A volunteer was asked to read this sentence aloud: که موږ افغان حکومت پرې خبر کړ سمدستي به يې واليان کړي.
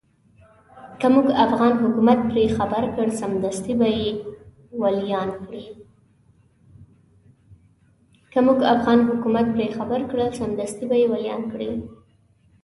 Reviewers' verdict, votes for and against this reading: accepted, 2, 1